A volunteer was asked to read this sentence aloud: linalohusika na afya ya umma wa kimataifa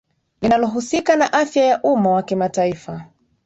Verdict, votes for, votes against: rejected, 3, 4